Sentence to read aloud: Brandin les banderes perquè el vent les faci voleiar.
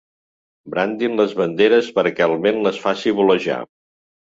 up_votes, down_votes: 1, 2